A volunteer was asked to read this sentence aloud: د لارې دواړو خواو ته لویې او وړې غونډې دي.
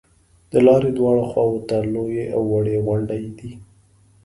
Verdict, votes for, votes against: accepted, 2, 0